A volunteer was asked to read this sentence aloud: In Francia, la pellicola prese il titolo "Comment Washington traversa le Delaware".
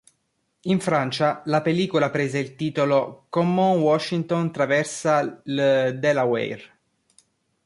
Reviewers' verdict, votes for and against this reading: accepted, 2, 0